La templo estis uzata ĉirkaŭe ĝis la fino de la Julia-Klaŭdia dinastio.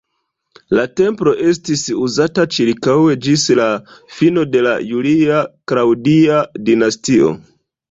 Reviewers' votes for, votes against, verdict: 2, 0, accepted